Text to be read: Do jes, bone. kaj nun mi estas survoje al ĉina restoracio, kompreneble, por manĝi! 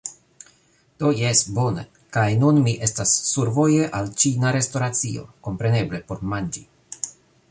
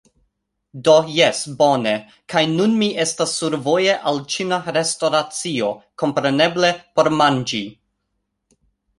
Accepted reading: second